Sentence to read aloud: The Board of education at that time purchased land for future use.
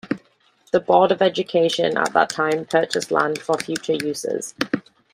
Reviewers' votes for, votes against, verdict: 0, 2, rejected